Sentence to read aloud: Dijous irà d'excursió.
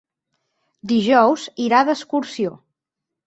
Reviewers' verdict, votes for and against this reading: accepted, 6, 0